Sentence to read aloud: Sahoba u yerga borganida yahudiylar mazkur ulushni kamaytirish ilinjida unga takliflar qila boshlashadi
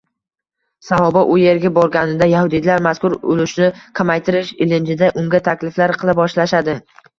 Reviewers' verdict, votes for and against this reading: rejected, 0, 2